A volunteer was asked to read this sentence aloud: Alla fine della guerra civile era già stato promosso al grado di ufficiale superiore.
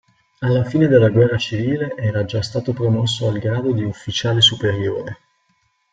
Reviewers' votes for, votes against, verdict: 2, 0, accepted